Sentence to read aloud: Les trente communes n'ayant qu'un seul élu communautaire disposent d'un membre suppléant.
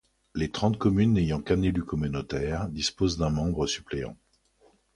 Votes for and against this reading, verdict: 1, 2, rejected